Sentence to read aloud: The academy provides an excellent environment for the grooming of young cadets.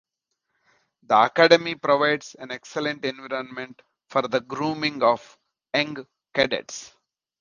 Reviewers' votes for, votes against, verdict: 1, 2, rejected